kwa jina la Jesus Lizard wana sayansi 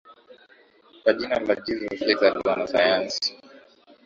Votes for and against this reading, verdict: 3, 2, accepted